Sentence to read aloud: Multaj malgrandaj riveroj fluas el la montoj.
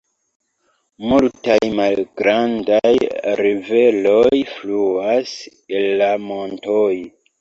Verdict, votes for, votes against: rejected, 0, 2